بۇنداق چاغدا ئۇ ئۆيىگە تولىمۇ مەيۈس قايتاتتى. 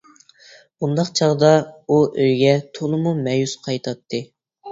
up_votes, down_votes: 1, 2